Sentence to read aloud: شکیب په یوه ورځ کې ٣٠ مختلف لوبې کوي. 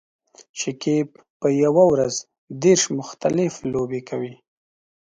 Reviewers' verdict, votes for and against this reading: rejected, 0, 2